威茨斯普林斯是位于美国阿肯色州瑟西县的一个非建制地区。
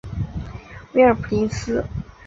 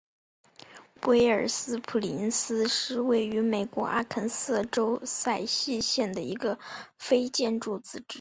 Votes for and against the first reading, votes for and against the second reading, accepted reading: 5, 4, 1, 2, first